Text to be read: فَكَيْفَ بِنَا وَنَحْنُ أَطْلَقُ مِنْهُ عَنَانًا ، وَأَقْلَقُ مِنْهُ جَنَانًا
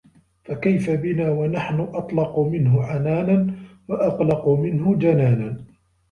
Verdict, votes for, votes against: accepted, 2, 0